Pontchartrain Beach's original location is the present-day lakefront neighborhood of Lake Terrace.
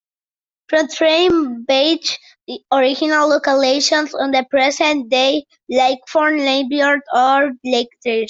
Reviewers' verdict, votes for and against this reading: rejected, 0, 2